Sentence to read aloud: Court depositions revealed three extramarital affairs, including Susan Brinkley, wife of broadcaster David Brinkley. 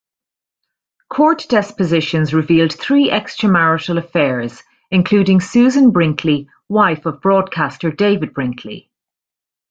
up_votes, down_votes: 0, 2